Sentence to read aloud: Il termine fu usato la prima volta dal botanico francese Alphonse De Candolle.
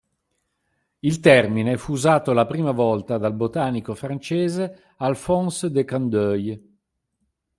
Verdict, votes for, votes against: accepted, 2, 0